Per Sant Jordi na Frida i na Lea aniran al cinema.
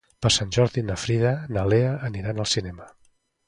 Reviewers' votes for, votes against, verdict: 1, 2, rejected